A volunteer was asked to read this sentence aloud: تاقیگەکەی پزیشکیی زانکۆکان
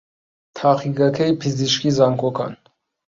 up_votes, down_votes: 2, 0